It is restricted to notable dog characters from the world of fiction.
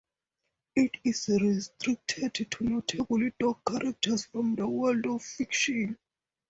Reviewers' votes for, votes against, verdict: 4, 0, accepted